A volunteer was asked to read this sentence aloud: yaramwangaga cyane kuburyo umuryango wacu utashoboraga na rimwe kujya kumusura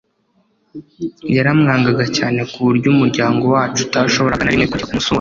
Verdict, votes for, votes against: accepted, 2, 0